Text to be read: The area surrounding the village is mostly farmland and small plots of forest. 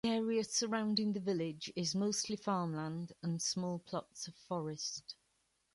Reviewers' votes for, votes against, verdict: 1, 2, rejected